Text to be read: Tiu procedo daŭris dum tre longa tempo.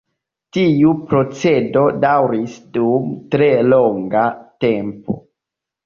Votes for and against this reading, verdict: 2, 1, accepted